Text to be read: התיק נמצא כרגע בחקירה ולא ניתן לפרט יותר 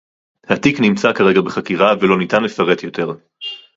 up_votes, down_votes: 4, 0